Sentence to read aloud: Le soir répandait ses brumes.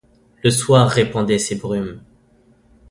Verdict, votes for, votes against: accepted, 2, 0